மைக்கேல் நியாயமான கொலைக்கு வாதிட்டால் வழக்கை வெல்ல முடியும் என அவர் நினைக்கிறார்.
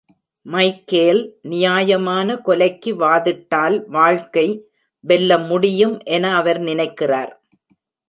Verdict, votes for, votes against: rejected, 1, 2